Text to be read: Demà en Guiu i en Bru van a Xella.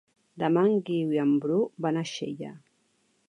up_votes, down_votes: 3, 0